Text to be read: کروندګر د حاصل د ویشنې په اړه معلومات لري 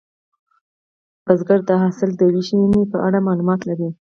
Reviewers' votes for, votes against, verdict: 2, 4, rejected